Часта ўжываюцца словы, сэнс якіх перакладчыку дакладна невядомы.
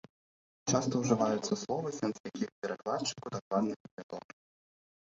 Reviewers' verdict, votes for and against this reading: rejected, 1, 2